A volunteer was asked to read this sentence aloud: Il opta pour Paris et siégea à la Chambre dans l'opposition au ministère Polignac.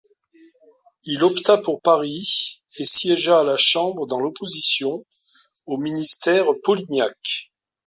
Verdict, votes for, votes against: rejected, 0, 2